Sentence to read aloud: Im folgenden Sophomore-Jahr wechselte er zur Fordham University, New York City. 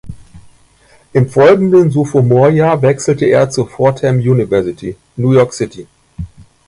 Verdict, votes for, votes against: accepted, 2, 1